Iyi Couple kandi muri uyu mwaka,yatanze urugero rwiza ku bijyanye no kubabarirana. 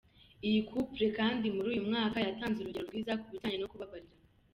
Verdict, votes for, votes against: rejected, 1, 2